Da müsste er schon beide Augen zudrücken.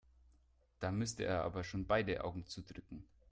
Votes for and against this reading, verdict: 1, 2, rejected